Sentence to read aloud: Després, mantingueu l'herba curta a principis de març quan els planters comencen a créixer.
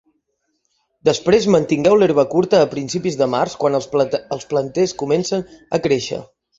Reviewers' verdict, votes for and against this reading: rejected, 0, 2